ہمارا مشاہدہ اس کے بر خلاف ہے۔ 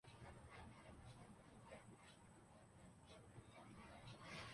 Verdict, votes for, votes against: rejected, 0, 2